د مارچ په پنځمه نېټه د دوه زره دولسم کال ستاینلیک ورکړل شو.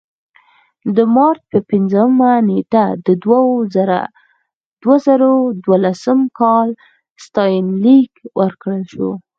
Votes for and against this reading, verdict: 4, 0, accepted